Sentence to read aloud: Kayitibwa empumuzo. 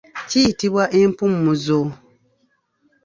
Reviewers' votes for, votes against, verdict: 1, 2, rejected